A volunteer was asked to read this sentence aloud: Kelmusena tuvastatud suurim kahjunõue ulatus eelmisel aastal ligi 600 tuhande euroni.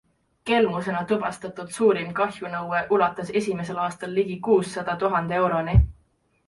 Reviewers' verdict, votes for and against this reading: rejected, 0, 2